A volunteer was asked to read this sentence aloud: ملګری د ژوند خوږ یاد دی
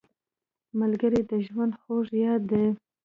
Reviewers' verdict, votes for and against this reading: rejected, 0, 2